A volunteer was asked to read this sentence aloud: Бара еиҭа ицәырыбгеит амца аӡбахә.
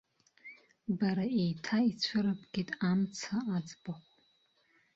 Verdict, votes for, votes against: accepted, 2, 0